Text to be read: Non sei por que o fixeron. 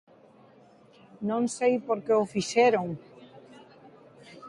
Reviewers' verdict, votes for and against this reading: accepted, 2, 1